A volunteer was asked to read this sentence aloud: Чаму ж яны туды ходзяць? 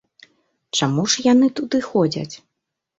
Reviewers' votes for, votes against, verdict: 2, 0, accepted